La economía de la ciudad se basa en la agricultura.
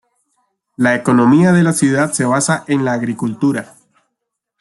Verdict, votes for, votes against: accepted, 2, 0